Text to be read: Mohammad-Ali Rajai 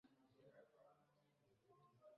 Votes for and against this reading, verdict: 0, 2, rejected